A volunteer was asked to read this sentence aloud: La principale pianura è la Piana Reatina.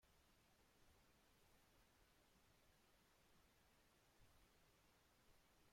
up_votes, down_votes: 0, 2